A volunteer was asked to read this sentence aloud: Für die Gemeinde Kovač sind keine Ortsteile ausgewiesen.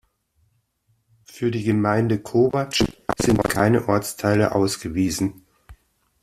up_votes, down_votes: 2, 0